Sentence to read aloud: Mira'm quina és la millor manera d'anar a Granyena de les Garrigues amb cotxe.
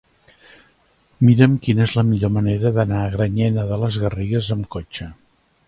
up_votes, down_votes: 3, 0